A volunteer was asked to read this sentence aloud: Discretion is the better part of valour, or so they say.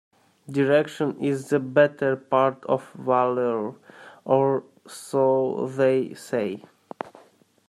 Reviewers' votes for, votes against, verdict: 1, 2, rejected